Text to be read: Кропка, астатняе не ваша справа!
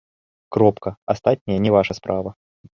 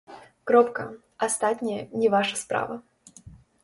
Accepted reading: first